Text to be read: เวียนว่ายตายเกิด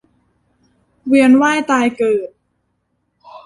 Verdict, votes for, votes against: accepted, 2, 0